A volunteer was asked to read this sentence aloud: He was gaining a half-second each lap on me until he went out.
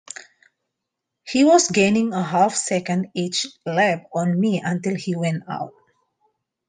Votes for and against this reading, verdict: 2, 0, accepted